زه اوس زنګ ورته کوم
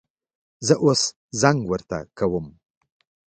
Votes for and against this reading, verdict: 3, 0, accepted